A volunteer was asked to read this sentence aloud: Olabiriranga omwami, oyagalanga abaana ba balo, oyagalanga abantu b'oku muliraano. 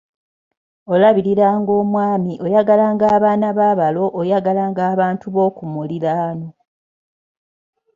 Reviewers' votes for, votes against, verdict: 2, 0, accepted